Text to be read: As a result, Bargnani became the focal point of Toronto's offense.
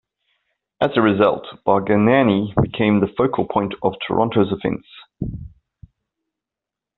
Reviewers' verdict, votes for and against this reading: accepted, 2, 1